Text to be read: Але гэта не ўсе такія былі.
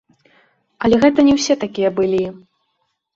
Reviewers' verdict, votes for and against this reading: accepted, 2, 0